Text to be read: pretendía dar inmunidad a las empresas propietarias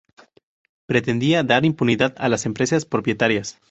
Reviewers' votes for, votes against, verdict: 0, 2, rejected